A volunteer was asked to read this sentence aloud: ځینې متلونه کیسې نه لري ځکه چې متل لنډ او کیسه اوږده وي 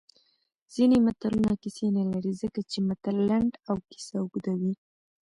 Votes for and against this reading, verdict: 1, 2, rejected